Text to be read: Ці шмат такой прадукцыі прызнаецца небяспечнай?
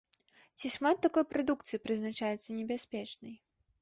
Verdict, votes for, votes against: rejected, 0, 2